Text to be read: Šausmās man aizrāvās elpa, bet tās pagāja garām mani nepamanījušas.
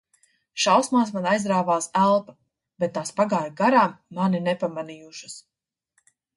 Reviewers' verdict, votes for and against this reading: accepted, 2, 0